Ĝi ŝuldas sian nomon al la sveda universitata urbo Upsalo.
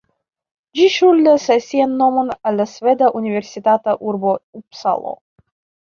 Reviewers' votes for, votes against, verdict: 2, 0, accepted